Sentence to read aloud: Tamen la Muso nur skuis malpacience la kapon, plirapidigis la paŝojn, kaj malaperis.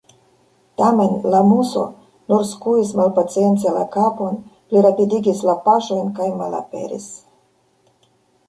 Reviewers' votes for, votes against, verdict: 0, 2, rejected